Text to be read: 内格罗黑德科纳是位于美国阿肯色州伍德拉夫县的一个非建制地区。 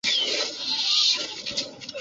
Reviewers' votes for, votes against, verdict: 1, 4, rejected